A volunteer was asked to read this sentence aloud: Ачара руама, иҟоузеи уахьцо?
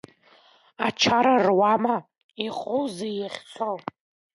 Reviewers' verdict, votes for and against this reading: rejected, 1, 2